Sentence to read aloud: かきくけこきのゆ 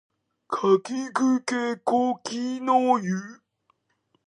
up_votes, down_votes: 0, 2